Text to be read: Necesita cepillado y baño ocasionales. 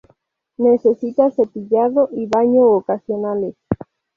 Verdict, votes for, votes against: accepted, 2, 0